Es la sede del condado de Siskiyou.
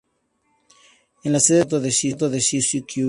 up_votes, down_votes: 0, 4